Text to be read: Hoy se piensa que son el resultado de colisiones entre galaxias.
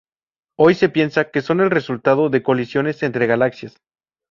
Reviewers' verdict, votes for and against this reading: accepted, 2, 0